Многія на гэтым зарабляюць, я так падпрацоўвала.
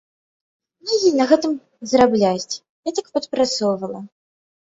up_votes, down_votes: 1, 2